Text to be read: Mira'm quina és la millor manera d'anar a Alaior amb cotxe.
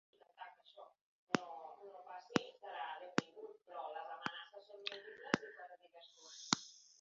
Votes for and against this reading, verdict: 0, 2, rejected